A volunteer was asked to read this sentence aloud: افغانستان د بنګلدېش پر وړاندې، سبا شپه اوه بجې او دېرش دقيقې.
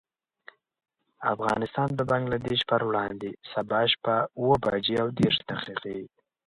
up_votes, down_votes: 4, 0